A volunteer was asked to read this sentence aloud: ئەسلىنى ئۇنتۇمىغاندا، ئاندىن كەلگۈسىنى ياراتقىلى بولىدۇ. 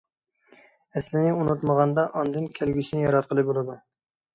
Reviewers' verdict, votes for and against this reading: rejected, 1, 2